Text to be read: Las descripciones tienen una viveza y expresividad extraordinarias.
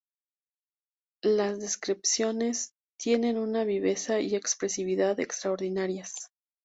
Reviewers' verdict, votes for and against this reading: accepted, 2, 0